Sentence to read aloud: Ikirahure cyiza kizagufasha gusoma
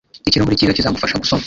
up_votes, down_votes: 0, 2